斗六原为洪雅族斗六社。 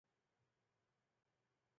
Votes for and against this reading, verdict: 0, 2, rejected